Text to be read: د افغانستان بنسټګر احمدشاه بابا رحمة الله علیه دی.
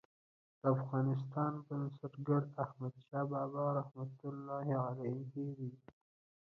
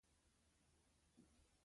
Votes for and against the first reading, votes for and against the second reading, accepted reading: 1, 2, 2, 1, second